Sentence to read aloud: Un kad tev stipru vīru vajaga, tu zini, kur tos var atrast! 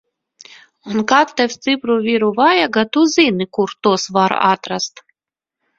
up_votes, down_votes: 1, 2